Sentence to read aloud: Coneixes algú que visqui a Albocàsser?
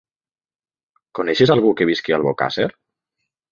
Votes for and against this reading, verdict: 2, 0, accepted